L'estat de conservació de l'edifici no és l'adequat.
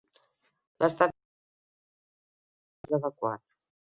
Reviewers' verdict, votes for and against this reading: rejected, 0, 2